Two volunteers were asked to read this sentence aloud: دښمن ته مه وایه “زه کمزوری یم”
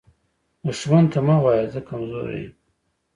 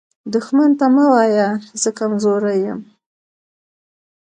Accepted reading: first